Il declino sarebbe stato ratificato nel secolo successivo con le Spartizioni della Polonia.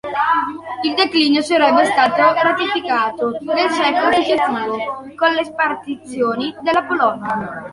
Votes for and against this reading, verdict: 0, 2, rejected